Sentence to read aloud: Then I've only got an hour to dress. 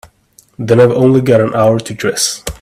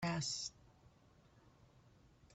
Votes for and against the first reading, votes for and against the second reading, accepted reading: 2, 0, 0, 2, first